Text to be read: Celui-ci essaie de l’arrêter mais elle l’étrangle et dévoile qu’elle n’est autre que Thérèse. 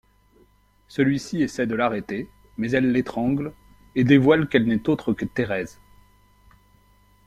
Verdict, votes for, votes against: accepted, 2, 0